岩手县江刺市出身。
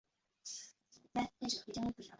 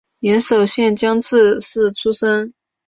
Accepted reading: second